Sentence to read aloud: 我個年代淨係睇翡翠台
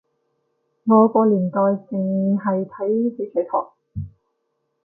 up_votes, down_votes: 2, 0